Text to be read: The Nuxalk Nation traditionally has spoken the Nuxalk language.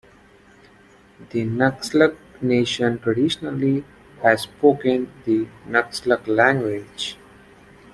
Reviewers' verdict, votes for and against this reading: accepted, 3, 2